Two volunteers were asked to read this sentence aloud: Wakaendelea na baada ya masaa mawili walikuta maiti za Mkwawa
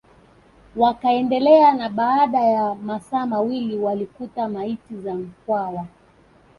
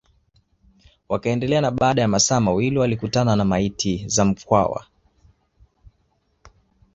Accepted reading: second